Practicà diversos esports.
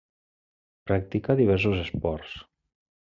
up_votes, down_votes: 1, 2